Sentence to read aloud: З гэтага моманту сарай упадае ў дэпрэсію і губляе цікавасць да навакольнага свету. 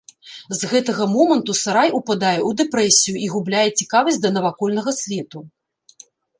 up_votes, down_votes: 2, 0